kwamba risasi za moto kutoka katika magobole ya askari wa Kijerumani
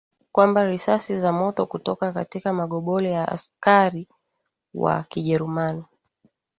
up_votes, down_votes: 5, 0